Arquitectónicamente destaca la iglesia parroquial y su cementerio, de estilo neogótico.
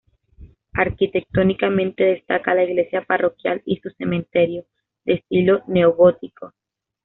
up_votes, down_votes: 2, 0